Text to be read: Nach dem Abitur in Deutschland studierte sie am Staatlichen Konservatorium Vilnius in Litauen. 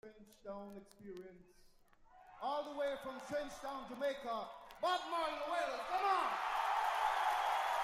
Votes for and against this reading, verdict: 0, 2, rejected